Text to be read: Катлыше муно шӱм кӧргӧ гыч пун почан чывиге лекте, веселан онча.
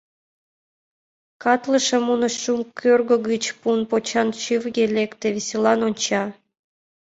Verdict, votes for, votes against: rejected, 1, 2